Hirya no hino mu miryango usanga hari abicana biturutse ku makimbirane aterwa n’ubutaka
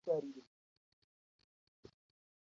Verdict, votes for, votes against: rejected, 0, 2